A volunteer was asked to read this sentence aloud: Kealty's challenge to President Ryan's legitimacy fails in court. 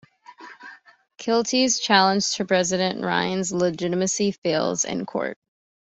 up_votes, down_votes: 2, 0